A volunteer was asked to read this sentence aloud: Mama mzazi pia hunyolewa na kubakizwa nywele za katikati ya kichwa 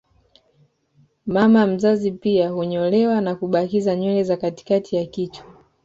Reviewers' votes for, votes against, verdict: 2, 0, accepted